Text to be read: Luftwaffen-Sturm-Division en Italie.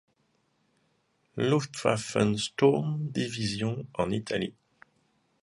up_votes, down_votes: 2, 0